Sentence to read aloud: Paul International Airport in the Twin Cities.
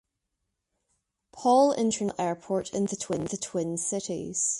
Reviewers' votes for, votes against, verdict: 1, 2, rejected